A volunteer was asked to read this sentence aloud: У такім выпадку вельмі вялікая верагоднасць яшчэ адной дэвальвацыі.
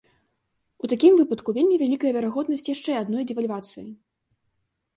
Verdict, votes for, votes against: accepted, 2, 0